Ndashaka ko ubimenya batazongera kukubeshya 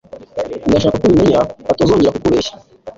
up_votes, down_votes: 2, 0